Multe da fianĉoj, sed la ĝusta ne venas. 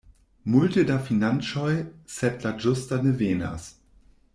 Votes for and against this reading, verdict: 1, 2, rejected